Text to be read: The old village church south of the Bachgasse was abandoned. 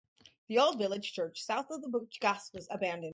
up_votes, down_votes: 2, 2